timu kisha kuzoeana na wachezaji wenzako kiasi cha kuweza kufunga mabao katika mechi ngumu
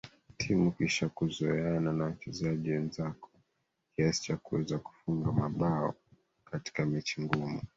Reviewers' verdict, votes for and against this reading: accepted, 2, 1